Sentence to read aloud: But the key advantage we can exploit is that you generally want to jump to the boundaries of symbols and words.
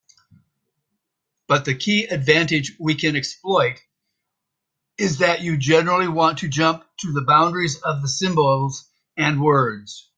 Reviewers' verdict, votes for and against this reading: accepted, 2, 0